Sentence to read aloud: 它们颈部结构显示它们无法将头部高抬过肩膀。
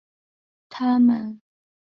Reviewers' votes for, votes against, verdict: 0, 3, rejected